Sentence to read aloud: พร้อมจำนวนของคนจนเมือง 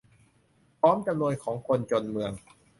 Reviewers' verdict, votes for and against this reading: accepted, 3, 0